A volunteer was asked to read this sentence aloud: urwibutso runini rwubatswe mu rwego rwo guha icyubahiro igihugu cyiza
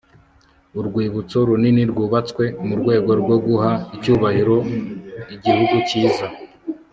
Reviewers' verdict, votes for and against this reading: accepted, 2, 0